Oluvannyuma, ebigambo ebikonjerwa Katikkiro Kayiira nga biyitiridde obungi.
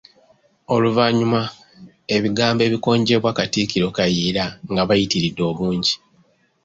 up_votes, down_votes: 2, 1